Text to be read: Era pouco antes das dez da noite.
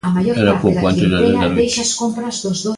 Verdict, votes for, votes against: rejected, 0, 2